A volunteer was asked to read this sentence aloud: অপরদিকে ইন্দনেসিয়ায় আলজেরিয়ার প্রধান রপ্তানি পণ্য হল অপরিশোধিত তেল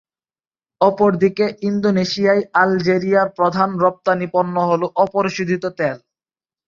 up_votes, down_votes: 3, 3